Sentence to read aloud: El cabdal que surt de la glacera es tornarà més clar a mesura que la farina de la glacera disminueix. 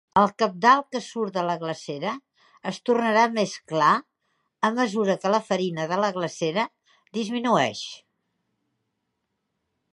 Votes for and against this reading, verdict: 3, 0, accepted